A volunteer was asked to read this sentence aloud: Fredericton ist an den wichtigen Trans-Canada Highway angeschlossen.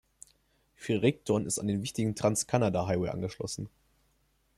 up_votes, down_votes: 0, 2